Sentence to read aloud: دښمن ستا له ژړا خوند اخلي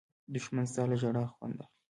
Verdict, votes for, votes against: rejected, 1, 2